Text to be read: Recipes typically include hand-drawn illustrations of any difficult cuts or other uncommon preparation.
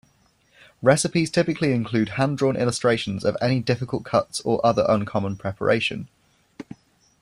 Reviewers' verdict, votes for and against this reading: accepted, 2, 0